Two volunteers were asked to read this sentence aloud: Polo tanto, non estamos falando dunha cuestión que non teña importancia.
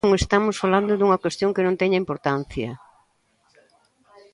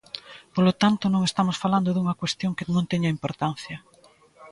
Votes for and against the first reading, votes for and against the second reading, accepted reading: 0, 2, 2, 0, second